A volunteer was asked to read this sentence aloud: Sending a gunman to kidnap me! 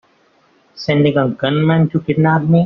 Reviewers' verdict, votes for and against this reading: accepted, 3, 0